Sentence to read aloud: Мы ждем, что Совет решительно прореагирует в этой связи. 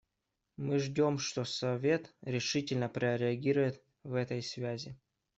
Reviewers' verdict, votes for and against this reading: accepted, 2, 0